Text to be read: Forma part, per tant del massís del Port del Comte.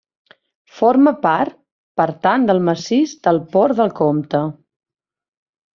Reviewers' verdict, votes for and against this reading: accepted, 2, 0